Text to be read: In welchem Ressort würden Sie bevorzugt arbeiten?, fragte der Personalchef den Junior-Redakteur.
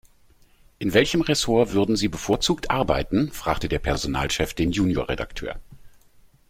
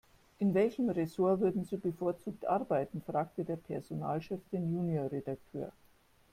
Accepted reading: first